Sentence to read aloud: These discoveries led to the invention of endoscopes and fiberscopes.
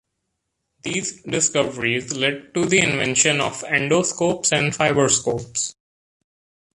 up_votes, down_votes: 2, 0